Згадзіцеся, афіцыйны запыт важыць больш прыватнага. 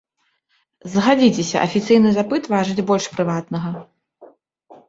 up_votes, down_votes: 1, 2